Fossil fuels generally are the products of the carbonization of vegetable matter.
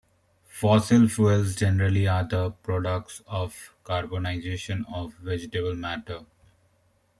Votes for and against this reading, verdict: 0, 2, rejected